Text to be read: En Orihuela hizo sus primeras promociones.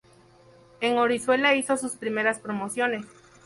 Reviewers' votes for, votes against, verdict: 0, 2, rejected